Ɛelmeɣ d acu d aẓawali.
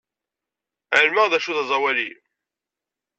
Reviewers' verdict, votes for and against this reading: accepted, 2, 0